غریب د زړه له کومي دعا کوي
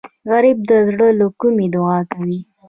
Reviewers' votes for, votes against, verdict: 2, 0, accepted